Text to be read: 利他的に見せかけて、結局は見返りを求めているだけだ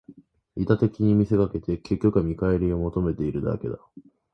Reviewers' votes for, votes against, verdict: 2, 0, accepted